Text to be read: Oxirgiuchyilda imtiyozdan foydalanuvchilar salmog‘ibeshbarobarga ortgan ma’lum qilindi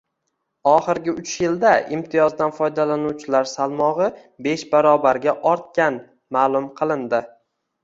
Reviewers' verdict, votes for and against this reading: accepted, 2, 0